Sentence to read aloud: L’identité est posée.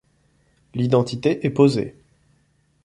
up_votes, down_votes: 2, 0